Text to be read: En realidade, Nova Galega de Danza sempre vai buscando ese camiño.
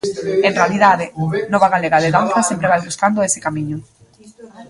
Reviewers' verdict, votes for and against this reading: rejected, 0, 3